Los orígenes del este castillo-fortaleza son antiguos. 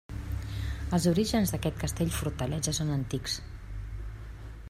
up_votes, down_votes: 1, 2